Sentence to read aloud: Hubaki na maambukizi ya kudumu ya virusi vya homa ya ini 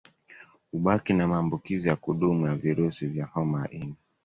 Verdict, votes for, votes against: accepted, 2, 1